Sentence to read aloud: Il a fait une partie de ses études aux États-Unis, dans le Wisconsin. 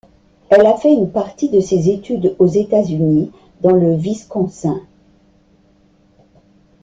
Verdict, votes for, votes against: rejected, 1, 2